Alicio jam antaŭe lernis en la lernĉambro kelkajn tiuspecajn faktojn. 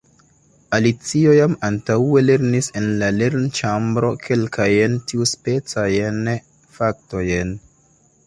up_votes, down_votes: 2, 1